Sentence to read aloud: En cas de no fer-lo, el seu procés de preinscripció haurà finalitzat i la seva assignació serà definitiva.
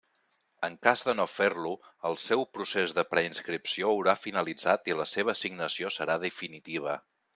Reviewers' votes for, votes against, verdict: 3, 0, accepted